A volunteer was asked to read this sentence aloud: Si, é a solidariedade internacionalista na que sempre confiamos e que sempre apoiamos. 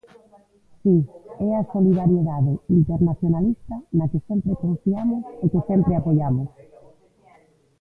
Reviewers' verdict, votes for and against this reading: rejected, 0, 2